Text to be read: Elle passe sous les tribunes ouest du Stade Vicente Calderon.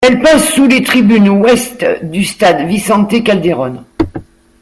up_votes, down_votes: 0, 2